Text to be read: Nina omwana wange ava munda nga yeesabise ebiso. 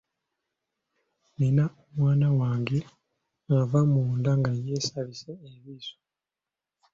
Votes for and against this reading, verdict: 2, 1, accepted